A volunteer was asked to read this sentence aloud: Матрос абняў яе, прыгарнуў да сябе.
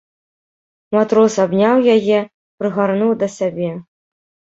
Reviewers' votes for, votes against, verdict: 2, 0, accepted